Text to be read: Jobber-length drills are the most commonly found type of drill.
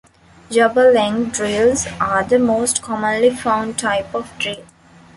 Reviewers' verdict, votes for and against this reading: accepted, 2, 1